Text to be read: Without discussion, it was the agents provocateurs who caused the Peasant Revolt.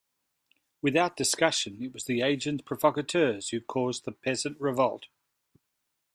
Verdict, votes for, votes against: accepted, 2, 1